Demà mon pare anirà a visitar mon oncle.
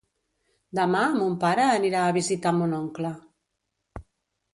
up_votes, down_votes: 2, 0